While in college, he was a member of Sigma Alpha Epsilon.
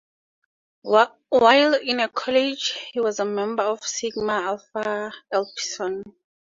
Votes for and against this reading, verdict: 0, 2, rejected